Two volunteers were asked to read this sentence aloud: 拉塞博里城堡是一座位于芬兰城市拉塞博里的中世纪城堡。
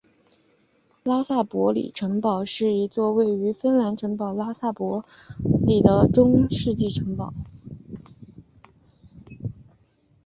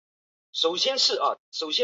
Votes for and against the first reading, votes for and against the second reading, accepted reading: 5, 0, 0, 2, first